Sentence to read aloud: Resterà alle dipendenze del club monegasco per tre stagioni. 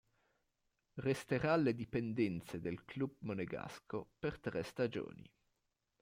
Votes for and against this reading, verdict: 1, 2, rejected